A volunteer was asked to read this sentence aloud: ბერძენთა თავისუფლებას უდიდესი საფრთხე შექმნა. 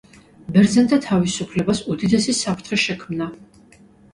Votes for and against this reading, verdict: 2, 0, accepted